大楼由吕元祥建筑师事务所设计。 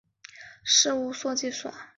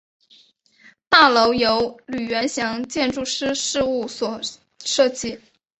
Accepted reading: second